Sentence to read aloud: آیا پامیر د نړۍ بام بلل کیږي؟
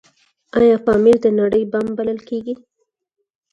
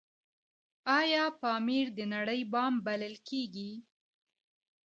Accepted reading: second